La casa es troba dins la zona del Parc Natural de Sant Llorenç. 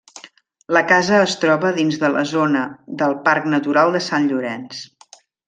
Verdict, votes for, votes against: rejected, 1, 2